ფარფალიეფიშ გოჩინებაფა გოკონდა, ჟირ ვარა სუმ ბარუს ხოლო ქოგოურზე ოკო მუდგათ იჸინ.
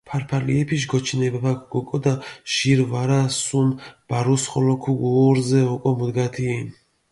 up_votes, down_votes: 0, 2